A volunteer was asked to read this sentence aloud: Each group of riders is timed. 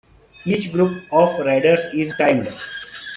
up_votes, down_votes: 2, 1